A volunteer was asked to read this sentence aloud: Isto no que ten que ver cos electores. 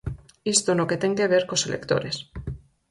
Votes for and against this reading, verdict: 4, 0, accepted